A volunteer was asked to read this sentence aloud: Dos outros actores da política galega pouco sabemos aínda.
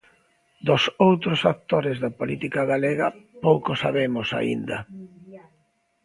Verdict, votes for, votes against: accepted, 2, 0